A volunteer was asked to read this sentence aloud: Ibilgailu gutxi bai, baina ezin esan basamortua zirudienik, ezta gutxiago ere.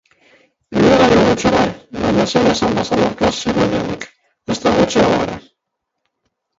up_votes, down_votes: 0, 2